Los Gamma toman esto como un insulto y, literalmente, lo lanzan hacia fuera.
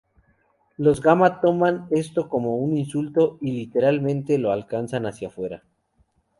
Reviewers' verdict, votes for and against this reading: rejected, 2, 2